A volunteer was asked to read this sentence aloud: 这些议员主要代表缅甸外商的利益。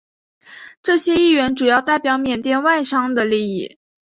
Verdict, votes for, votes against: accepted, 3, 0